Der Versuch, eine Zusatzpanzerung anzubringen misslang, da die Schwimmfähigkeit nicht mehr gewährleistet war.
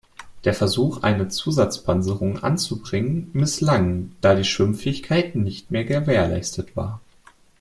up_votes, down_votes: 2, 0